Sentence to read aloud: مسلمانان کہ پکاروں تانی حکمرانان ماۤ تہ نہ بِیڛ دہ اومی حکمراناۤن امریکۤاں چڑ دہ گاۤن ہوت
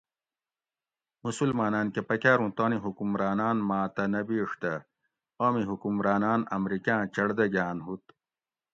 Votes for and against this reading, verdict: 2, 0, accepted